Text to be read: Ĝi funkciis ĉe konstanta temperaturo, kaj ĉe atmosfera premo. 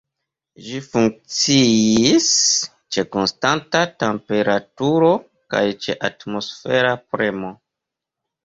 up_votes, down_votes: 1, 2